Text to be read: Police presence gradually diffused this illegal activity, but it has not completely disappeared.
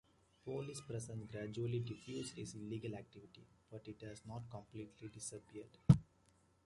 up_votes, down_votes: 1, 2